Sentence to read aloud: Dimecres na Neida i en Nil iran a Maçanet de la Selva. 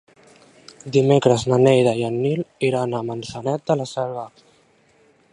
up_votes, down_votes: 0, 2